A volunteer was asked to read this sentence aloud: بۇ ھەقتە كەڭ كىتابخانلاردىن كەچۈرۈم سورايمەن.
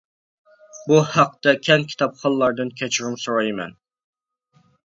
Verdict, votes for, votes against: accepted, 2, 0